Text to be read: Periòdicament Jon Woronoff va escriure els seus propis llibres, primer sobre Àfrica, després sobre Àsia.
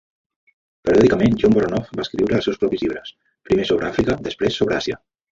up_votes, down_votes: 1, 2